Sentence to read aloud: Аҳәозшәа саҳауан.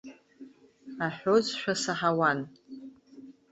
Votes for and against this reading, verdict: 2, 0, accepted